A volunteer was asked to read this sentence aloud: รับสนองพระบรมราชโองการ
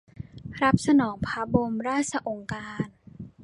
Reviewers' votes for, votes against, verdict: 1, 2, rejected